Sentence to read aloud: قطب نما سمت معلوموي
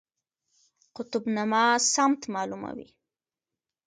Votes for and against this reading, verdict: 2, 0, accepted